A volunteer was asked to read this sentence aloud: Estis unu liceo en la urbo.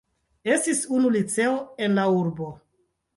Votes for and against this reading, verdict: 2, 1, accepted